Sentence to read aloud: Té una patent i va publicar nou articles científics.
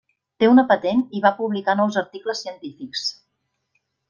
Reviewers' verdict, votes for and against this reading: rejected, 0, 2